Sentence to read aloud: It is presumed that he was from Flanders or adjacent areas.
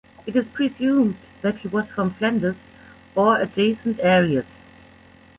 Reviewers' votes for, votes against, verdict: 2, 1, accepted